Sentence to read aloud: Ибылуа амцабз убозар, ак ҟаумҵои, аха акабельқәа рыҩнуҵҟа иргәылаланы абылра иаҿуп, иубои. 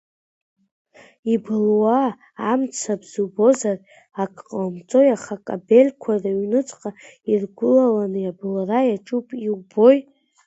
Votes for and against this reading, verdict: 1, 2, rejected